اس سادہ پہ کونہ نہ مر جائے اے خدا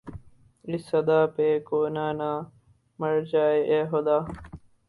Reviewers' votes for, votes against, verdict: 0, 2, rejected